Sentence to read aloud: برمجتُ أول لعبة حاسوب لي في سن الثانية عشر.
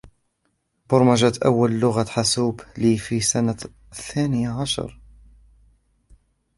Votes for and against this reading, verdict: 1, 2, rejected